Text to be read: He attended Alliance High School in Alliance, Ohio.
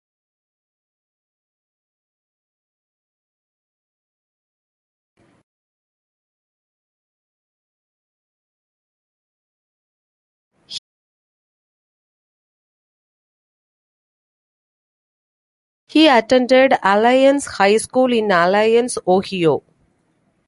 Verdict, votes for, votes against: rejected, 0, 2